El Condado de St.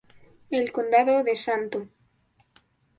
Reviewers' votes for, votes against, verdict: 2, 0, accepted